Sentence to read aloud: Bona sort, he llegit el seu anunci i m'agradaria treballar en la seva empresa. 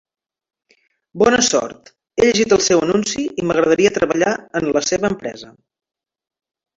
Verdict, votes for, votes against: rejected, 1, 3